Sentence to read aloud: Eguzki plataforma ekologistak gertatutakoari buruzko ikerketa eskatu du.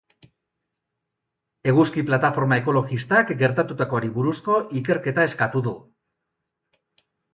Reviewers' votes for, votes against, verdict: 2, 0, accepted